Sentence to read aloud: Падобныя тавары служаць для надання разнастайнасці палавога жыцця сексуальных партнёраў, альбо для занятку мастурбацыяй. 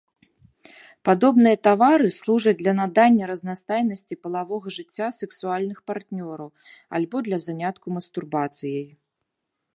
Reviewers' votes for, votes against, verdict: 1, 2, rejected